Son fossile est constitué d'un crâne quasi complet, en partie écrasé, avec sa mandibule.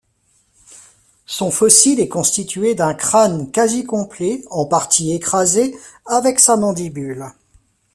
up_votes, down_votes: 0, 2